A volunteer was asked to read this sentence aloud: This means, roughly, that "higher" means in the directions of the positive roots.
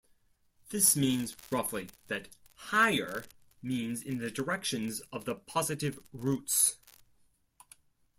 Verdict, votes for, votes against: accepted, 2, 0